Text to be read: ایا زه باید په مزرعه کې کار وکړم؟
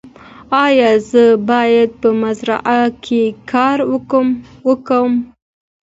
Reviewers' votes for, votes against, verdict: 2, 0, accepted